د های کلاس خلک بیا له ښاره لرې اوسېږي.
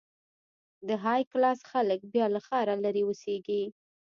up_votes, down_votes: 0, 2